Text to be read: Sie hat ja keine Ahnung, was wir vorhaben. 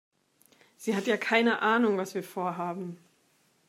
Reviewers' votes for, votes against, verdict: 2, 0, accepted